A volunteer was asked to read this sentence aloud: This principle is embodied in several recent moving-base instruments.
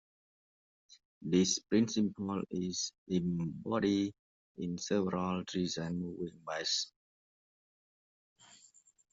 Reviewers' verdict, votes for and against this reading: rejected, 0, 2